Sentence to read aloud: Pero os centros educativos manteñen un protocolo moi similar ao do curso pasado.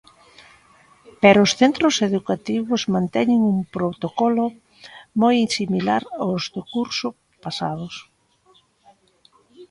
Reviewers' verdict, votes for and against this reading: rejected, 0, 2